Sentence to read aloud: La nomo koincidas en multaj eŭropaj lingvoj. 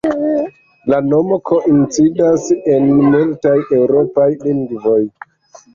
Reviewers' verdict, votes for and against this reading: rejected, 0, 2